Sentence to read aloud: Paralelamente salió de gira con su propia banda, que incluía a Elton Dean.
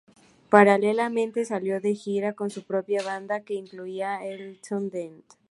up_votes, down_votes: 2, 0